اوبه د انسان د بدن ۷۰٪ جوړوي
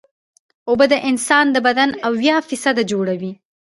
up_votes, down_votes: 0, 2